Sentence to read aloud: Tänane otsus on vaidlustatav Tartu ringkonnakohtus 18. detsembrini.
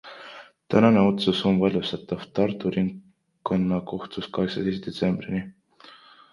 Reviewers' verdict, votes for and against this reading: rejected, 0, 2